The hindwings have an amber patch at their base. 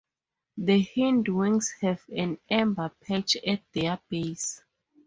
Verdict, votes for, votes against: rejected, 0, 2